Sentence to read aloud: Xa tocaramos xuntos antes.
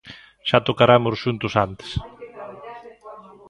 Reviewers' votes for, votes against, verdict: 2, 0, accepted